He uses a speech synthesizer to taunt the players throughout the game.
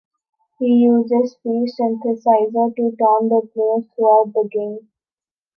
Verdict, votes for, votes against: rejected, 0, 2